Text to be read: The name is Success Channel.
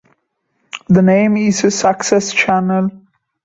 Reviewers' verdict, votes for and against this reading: rejected, 1, 2